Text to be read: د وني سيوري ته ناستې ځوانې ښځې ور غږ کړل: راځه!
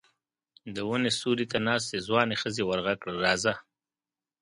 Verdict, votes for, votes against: accepted, 2, 0